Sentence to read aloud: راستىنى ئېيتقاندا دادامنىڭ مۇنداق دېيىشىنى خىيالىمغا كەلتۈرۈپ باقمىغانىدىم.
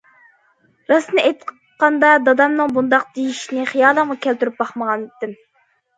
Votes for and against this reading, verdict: 2, 1, accepted